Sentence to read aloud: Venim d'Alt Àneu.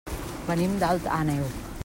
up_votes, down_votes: 2, 1